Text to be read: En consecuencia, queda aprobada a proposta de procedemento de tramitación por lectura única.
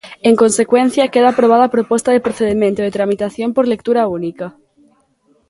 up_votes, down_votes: 2, 0